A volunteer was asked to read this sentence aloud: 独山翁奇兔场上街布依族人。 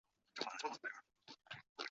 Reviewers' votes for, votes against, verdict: 0, 2, rejected